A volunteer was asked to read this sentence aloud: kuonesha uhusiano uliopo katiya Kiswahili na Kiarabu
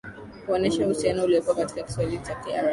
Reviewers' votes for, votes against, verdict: 1, 2, rejected